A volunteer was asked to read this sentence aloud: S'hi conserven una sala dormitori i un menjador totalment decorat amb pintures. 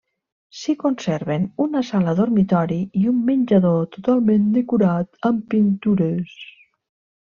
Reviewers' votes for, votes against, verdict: 1, 2, rejected